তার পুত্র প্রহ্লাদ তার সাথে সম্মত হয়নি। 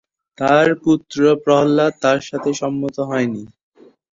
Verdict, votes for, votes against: accepted, 2, 0